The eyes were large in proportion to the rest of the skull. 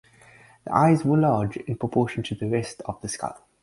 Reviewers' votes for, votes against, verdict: 4, 0, accepted